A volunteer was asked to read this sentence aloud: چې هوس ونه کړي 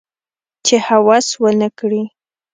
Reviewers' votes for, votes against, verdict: 2, 0, accepted